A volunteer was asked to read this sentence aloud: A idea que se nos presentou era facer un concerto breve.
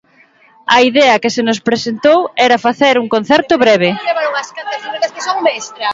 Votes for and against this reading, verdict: 2, 0, accepted